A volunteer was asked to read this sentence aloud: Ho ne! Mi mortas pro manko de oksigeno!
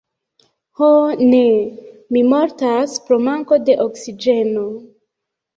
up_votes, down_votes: 2, 1